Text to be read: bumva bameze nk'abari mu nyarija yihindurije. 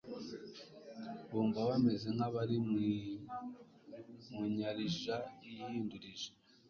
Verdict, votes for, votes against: accepted, 3, 0